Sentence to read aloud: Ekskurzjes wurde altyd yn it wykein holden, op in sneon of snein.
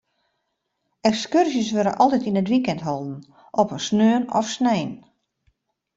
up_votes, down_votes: 0, 2